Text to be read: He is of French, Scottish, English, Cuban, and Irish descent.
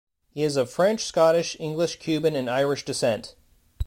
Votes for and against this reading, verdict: 2, 0, accepted